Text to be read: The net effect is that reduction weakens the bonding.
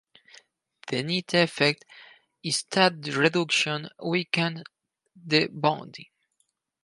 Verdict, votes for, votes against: rejected, 0, 4